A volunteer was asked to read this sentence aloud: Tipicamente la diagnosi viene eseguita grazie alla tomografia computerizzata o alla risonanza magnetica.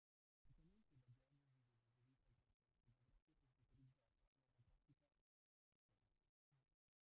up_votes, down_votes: 0, 2